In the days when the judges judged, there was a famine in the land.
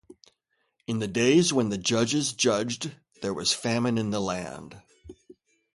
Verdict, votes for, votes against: accepted, 2, 0